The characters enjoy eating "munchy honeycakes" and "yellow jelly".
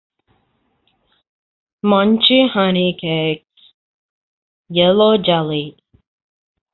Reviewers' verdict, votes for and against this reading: rejected, 0, 2